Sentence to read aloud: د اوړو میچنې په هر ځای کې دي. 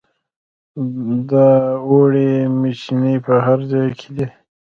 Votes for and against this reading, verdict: 1, 2, rejected